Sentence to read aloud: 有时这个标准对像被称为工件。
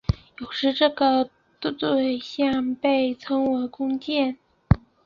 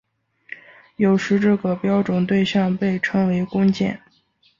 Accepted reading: second